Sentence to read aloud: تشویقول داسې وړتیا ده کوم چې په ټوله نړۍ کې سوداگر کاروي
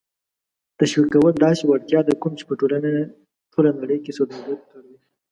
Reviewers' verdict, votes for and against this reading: accepted, 3, 1